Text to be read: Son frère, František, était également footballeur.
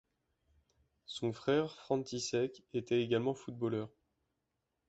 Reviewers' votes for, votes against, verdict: 2, 1, accepted